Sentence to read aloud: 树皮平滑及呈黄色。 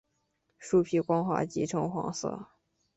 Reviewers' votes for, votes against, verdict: 0, 2, rejected